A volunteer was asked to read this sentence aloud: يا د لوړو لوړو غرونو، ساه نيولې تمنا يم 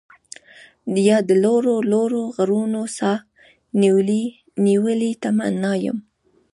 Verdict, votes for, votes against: rejected, 1, 2